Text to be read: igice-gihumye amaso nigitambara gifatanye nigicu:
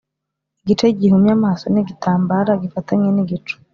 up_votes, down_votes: 2, 0